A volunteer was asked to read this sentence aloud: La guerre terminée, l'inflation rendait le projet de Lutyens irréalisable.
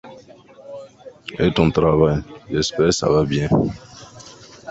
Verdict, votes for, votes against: rejected, 0, 2